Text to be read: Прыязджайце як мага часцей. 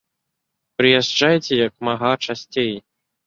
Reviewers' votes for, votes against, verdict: 2, 0, accepted